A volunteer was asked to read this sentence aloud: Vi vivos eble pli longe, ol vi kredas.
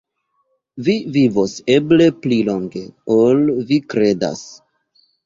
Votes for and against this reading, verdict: 1, 2, rejected